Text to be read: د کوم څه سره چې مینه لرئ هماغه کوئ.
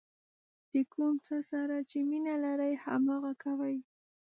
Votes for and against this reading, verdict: 2, 0, accepted